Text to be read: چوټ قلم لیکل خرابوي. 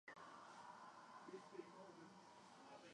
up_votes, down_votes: 0, 2